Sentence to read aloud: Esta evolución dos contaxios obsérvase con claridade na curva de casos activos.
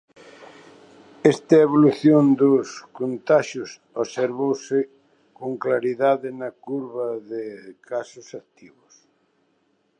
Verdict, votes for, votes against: rejected, 0, 2